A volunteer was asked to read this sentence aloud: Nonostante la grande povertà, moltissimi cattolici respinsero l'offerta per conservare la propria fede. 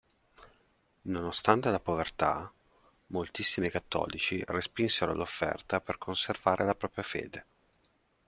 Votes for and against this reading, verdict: 1, 2, rejected